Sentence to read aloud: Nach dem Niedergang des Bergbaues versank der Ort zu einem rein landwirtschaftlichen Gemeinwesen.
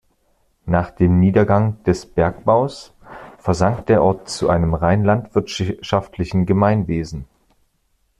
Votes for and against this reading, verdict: 1, 2, rejected